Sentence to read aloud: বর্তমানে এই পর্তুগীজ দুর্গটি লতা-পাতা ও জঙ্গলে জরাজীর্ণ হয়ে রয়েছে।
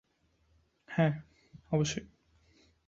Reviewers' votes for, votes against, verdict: 0, 2, rejected